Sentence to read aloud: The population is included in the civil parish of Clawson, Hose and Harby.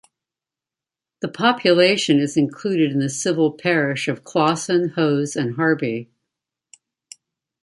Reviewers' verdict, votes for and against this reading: accepted, 2, 0